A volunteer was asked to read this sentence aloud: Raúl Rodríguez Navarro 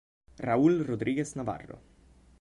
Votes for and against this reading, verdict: 2, 0, accepted